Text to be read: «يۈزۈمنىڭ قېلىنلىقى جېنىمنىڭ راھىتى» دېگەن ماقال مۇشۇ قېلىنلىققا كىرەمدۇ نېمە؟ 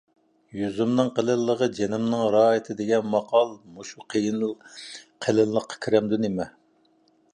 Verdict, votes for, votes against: rejected, 0, 2